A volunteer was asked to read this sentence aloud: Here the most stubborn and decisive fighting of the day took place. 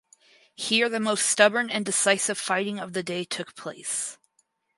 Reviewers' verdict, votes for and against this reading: accepted, 4, 0